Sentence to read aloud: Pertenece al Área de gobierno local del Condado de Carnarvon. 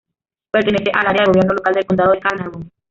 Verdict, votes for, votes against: rejected, 0, 2